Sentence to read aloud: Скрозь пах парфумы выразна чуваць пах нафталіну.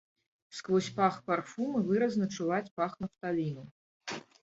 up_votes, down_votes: 1, 2